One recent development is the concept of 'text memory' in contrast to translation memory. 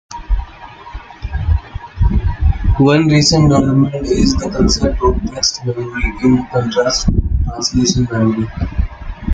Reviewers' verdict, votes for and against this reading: rejected, 0, 2